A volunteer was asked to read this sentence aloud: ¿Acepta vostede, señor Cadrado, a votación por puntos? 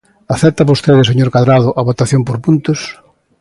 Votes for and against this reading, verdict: 2, 0, accepted